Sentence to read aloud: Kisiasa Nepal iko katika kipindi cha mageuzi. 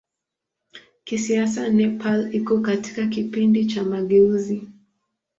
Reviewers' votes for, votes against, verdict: 2, 0, accepted